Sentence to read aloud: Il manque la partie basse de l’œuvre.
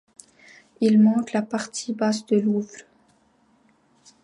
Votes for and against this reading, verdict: 0, 2, rejected